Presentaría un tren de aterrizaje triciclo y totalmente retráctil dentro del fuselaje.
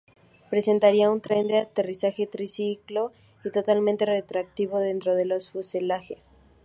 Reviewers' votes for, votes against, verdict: 0, 2, rejected